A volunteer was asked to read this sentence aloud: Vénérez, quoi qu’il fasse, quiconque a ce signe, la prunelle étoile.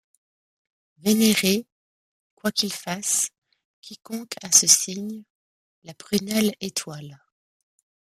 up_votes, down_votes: 2, 0